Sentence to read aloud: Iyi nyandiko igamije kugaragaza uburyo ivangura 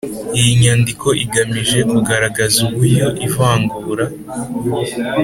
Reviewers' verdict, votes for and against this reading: accepted, 3, 0